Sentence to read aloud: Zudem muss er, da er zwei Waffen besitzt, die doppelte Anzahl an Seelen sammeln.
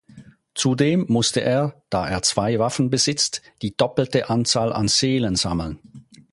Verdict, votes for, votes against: rejected, 2, 4